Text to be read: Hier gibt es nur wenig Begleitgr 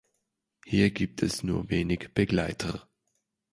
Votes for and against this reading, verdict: 0, 2, rejected